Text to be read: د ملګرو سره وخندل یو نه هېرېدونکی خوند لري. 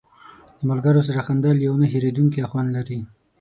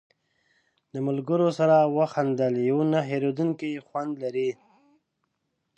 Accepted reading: first